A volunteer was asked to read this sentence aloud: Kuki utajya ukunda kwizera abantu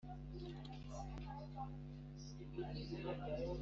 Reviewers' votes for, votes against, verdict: 1, 2, rejected